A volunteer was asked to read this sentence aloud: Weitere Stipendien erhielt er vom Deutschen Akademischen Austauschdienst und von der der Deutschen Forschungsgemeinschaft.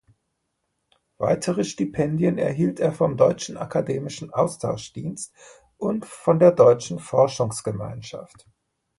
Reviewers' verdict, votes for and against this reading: accepted, 2, 0